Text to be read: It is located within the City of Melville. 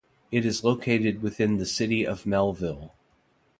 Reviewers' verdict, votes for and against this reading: accepted, 2, 0